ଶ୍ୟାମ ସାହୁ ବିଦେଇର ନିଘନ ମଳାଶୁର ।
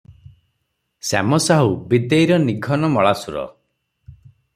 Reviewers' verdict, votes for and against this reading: accepted, 6, 0